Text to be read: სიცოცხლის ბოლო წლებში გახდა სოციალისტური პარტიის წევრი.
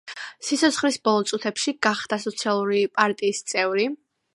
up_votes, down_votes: 2, 1